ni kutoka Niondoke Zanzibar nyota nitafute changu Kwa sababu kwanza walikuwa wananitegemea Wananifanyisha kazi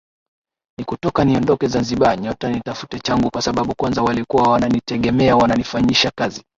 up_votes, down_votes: 2, 0